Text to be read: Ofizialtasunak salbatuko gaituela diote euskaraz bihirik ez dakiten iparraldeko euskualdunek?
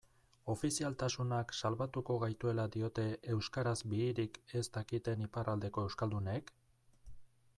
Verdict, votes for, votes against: accepted, 2, 0